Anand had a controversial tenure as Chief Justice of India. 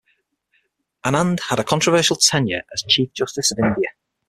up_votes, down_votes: 6, 0